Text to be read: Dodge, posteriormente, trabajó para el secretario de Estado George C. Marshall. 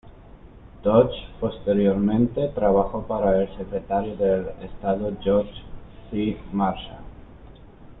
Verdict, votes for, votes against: accepted, 2, 0